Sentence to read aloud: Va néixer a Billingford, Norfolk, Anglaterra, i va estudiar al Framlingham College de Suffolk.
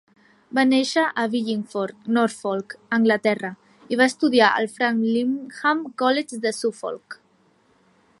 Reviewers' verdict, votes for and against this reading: rejected, 1, 2